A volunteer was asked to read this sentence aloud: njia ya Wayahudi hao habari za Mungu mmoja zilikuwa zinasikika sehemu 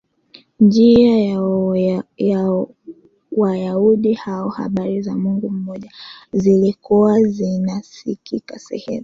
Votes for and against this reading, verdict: 0, 2, rejected